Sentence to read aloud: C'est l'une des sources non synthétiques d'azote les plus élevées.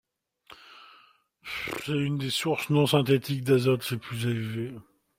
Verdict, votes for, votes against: rejected, 0, 2